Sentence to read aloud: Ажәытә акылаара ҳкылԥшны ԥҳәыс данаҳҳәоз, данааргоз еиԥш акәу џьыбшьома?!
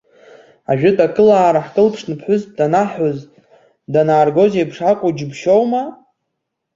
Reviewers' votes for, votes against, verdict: 2, 1, accepted